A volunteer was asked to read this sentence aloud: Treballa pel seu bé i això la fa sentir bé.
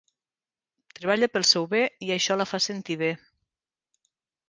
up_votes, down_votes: 3, 0